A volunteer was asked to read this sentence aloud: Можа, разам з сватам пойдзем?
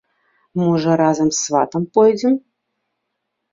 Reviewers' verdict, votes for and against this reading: accepted, 3, 0